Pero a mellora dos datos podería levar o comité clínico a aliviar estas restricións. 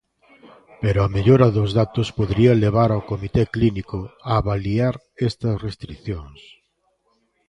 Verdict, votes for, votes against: rejected, 0, 2